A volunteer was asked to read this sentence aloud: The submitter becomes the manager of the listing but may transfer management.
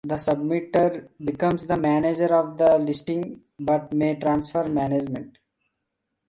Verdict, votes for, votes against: accepted, 2, 0